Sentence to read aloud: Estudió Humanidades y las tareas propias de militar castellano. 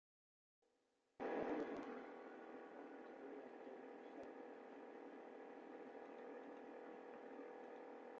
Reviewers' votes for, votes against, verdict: 0, 2, rejected